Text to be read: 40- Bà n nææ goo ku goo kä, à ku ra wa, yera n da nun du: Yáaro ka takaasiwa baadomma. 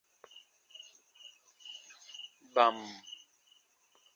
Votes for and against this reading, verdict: 0, 2, rejected